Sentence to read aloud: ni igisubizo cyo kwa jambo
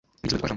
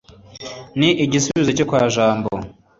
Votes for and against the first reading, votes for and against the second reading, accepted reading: 2, 3, 2, 0, second